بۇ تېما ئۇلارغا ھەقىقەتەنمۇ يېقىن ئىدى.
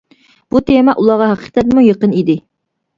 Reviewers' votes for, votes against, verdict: 1, 2, rejected